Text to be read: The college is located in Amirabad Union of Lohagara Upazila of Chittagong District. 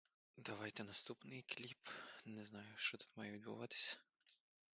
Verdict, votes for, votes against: rejected, 0, 2